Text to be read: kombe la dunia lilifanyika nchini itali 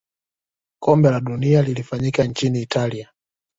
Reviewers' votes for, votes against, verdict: 2, 0, accepted